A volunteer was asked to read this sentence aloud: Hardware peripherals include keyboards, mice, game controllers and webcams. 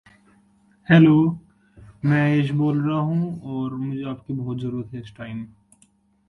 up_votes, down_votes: 0, 2